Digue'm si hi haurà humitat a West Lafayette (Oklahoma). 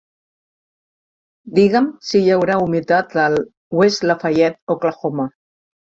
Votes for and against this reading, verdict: 0, 2, rejected